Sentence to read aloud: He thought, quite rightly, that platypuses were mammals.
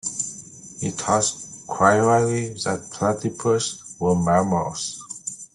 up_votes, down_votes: 0, 2